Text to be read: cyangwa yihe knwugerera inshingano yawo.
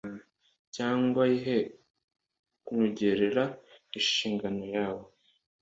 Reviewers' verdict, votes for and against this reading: accepted, 2, 0